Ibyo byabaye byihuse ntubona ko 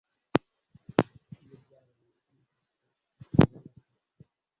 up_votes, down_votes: 1, 2